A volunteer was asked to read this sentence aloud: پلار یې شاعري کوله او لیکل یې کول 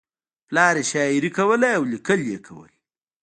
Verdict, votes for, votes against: accepted, 2, 0